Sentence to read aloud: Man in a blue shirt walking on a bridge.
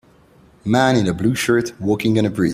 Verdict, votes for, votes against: rejected, 0, 2